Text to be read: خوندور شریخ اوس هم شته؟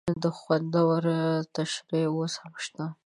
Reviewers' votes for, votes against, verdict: 3, 4, rejected